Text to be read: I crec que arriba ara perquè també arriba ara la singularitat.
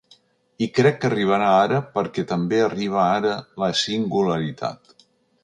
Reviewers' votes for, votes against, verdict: 0, 2, rejected